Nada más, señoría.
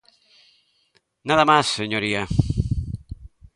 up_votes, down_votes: 2, 0